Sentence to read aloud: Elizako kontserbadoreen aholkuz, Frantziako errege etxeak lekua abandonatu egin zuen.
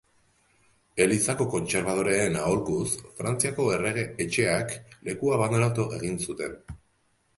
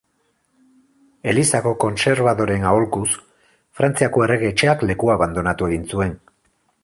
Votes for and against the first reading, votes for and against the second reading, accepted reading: 1, 2, 4, 2, second